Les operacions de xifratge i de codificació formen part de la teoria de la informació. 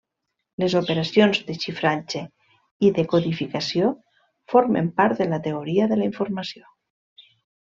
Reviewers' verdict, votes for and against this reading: accepted, 2, 0